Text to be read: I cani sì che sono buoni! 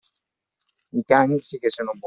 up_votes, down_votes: 0, 2